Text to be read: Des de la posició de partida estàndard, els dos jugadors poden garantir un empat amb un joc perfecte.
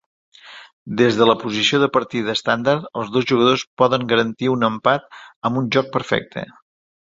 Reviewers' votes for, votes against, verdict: 2, 0, accepted